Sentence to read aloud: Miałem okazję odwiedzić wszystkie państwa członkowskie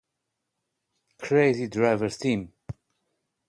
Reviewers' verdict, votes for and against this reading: rejected, 0, 2